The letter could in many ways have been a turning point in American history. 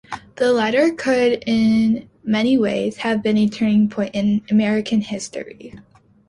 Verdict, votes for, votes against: accepted, 2, 0